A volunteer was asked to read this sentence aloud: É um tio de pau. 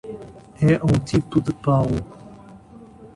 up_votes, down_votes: 1, 2